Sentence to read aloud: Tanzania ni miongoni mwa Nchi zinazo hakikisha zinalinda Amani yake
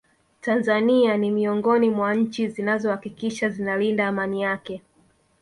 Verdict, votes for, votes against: rejected, 1, 2